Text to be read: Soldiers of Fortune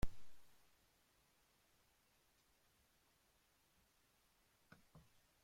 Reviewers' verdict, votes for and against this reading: rejected, 0, 2